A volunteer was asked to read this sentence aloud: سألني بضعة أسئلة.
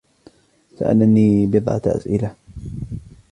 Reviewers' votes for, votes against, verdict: 2, 1, accepted